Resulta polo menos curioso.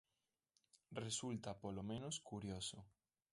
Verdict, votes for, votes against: accepted, 2, 1